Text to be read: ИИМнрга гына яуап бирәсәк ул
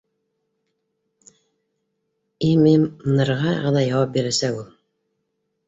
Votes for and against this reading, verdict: 1, 2, rejected